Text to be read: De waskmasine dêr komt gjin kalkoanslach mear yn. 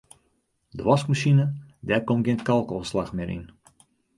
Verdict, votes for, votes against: accepted, 2, 0